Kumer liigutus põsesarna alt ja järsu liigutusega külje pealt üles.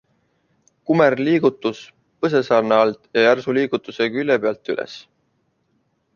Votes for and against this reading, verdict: 2, 0, accepted